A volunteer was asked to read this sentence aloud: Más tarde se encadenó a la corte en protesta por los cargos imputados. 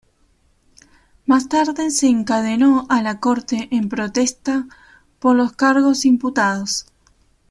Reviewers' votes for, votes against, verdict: 2, 0, accepted